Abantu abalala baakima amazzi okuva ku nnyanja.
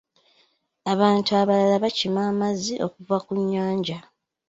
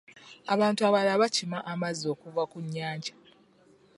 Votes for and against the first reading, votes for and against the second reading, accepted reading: 2, 0, 1, 2, first